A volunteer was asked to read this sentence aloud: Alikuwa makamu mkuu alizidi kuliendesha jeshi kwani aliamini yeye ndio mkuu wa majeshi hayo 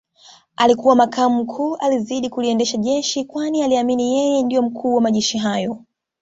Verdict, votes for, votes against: accepted, 2, 1